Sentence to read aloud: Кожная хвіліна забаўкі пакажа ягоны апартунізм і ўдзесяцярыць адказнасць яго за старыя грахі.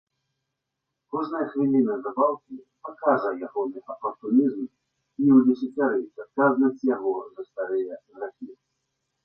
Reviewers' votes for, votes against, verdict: 1, 2, rejected